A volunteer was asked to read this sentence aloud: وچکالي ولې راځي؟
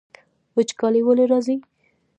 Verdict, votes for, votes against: rejected, 0, 2